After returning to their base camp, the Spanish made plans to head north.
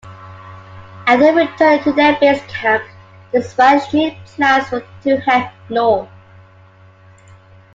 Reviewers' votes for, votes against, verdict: 0, 2, rejected